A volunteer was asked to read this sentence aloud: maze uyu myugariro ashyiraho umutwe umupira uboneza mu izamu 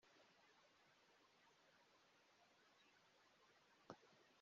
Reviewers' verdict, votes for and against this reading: rejected, 0, 2